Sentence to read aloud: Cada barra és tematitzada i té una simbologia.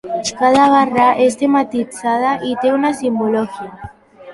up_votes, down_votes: 0, 3